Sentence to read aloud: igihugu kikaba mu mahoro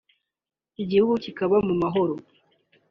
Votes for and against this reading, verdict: 2, 0, accepted